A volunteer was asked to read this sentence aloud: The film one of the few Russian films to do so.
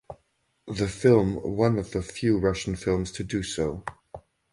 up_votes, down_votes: 4, 0